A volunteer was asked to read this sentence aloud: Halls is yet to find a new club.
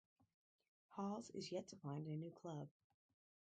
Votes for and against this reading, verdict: 2, 2, rejected